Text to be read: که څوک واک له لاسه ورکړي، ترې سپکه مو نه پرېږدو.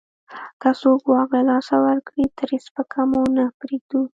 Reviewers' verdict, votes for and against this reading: accepted, 2, 0